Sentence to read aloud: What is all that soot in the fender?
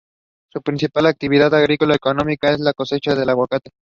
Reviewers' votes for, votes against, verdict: 0, 2, rejected